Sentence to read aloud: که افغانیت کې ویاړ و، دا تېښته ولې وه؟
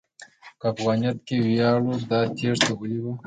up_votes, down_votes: 3, 1